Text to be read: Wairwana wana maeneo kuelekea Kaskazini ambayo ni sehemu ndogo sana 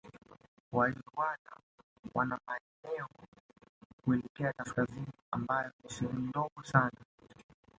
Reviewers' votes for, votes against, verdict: 1, 2, rejected